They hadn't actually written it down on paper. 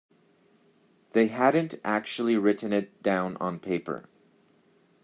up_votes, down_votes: 2, 0